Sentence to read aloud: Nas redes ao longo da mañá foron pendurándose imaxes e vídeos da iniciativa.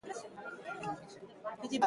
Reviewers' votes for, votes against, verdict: 1, 2, rejected